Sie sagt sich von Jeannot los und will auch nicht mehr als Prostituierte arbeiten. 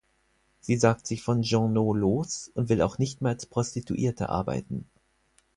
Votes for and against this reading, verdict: 4, 0, accepted